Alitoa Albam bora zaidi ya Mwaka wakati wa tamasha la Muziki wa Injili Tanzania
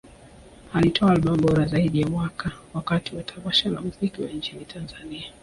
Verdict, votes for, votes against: accepted, 2, 0